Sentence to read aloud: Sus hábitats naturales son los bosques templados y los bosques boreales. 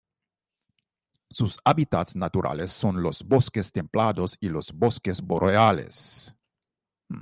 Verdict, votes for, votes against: accepted, 2, 0